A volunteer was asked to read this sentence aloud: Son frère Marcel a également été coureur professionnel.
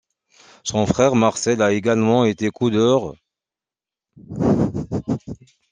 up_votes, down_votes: 0, 2